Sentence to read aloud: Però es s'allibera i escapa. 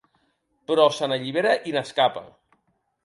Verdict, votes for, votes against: rejected, 0, 2